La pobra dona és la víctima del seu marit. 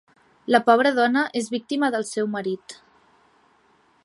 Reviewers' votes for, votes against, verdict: 1, 2, rejected